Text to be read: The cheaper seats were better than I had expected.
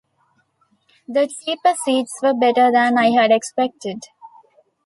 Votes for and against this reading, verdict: 2, 0, accepted